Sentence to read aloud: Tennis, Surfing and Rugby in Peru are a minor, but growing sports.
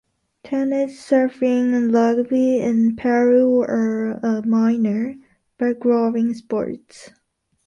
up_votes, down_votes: 0, 2